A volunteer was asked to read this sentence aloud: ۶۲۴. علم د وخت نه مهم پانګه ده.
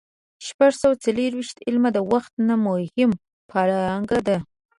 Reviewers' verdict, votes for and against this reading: rejected, 0, 2